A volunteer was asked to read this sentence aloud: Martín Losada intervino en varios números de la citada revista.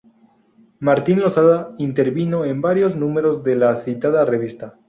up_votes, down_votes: 2, 0